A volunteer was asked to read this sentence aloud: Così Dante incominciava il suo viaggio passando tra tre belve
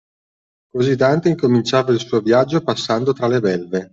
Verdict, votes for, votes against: accepted, 2, 1